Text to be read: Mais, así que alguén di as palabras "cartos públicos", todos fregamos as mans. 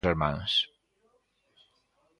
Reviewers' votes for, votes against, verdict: 0, 2, rejected